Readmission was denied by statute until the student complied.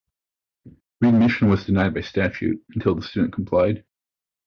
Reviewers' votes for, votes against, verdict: 1, 2, rejected